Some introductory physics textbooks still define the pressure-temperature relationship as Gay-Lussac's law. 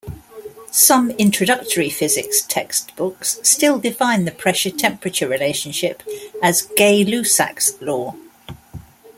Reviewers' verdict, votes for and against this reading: accepted, 2, 0